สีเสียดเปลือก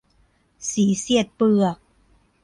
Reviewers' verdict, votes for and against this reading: accepted, 2, 0